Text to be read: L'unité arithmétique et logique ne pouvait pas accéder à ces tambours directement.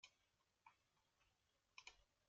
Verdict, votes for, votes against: rejected, 0, 2